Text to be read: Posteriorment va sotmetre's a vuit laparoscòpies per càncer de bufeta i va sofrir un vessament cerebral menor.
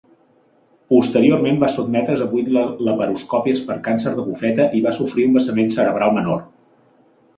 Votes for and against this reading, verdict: 2, 0, accepted